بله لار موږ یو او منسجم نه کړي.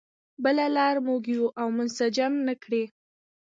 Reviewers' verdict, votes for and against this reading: rejected, 1, 2